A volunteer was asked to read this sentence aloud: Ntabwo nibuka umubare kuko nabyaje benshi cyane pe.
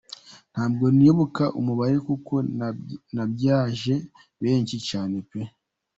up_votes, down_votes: 0, 2